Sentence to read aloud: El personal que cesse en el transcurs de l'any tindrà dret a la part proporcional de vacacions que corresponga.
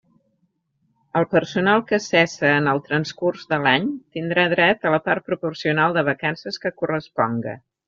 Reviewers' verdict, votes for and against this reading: rejected, 1, 2